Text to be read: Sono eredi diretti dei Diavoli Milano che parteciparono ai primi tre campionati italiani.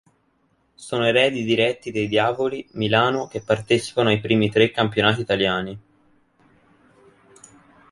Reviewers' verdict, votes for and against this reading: accepted, 2, 0